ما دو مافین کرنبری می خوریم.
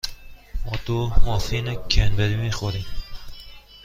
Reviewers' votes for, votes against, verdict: 2, 0, accepted